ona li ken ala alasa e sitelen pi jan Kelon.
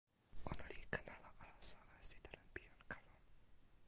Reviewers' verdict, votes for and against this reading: rejected, 0, 2